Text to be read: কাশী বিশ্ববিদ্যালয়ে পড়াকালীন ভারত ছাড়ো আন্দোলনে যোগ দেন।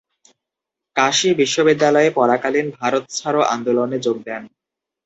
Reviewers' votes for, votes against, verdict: 2, 0, accepted